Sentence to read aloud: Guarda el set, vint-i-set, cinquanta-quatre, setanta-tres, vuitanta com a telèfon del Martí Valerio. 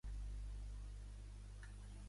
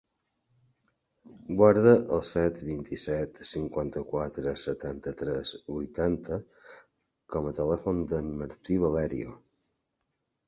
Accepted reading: second